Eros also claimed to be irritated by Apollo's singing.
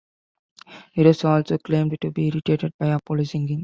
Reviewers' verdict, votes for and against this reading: accepted, 2, 0